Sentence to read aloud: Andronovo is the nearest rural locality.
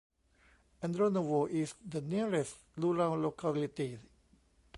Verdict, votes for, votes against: accepted, 2, 0